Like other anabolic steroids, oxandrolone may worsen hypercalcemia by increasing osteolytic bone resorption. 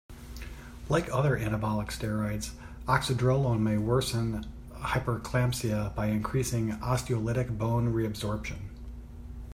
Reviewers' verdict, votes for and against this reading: rejected, 0, 2